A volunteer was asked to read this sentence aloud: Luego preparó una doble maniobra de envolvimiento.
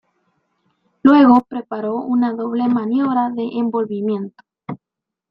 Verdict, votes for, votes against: accepted, 2, 0